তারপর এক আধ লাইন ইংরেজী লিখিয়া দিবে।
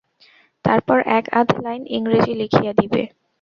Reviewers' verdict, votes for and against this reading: rejected, 0, 2